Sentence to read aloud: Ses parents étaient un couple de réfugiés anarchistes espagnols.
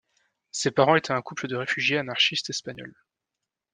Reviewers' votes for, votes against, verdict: 2, 0, accepted